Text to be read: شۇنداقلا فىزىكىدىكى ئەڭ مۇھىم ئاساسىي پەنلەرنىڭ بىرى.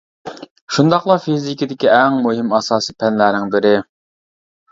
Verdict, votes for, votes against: rejected, 0, 2